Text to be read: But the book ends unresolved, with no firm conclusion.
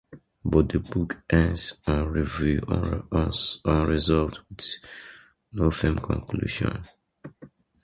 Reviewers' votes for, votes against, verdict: 0, 2, rejected